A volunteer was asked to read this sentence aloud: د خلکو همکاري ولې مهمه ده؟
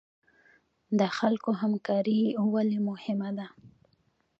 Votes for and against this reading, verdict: 1, 2, rejected